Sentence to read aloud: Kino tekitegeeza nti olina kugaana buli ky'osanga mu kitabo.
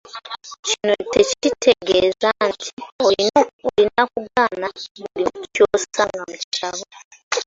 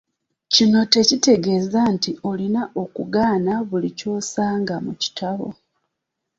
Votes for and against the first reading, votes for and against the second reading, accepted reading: 0, 2, 2, 0, second